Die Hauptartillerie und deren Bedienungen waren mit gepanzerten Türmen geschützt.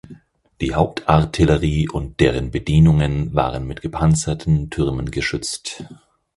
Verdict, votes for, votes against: accepted, 4, 0